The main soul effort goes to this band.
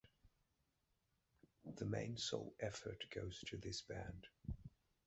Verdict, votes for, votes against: accepted, 2, 0